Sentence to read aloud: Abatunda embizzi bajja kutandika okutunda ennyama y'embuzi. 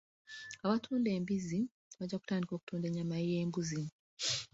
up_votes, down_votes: 0, 2